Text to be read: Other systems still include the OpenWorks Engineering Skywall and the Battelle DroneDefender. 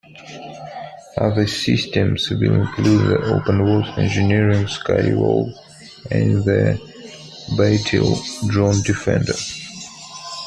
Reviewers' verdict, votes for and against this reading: rejected, 1, 2